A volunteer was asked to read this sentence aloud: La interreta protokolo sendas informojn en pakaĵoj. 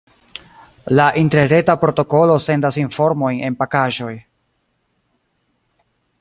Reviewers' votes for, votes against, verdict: 2, 0, accepted